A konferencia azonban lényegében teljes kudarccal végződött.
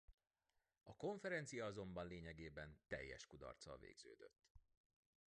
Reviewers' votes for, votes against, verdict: 0, 2, rejected